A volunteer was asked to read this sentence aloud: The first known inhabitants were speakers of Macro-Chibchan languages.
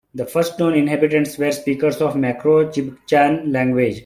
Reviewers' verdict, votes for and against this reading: rejected, 1, 2